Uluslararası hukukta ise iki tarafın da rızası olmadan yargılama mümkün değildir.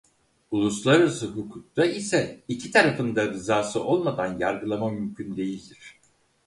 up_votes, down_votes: 4, 0